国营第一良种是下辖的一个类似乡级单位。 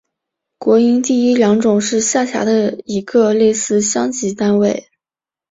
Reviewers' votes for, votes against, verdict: 1, 2, rejected